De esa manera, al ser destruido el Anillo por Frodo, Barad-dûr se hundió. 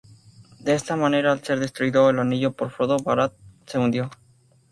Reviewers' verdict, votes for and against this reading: accepted, 2, 0